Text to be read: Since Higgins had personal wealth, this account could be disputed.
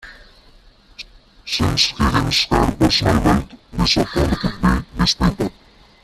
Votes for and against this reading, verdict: 0, 2, rejected